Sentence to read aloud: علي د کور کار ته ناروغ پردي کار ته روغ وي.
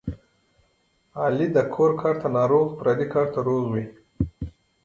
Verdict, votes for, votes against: accepted, 2, 0